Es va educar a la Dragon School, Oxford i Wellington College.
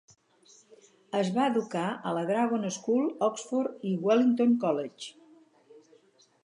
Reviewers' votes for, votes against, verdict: 4, 0, accepted